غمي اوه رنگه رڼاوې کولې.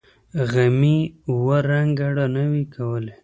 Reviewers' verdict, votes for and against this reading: accepted, 3, 0